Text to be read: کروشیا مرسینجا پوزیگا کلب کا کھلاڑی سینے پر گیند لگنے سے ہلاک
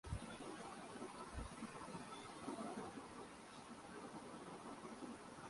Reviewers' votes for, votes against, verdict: 0, 2, rejected